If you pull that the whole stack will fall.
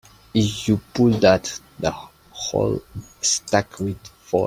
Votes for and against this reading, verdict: 2, 5, rejected